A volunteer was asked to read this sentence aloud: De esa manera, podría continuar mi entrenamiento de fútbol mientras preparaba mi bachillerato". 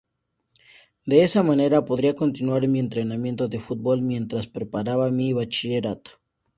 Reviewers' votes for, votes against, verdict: 2, 0, accepted